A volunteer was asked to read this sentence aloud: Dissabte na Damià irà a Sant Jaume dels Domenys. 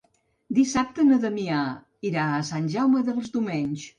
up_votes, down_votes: 5, 1